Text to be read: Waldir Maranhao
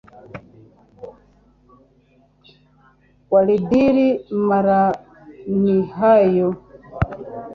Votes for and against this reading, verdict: 1, 2, rejected